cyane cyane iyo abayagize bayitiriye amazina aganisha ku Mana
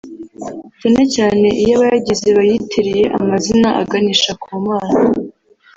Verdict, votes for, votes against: rejected, 1, 2